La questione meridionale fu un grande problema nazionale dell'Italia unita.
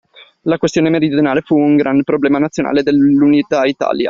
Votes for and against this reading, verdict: 0, 2, rejected